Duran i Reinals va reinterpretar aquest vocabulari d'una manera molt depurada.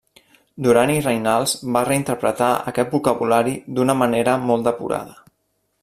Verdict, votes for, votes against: accepted, 2, 0